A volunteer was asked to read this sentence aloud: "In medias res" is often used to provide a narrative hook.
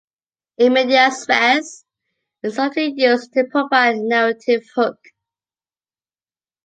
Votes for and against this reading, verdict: 1, 2, rejected